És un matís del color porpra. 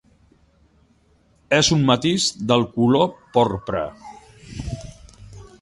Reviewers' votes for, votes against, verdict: 2, 0, accepted